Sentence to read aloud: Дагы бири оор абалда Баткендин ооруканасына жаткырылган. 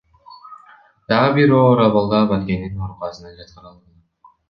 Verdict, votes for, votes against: rejected, 1, 2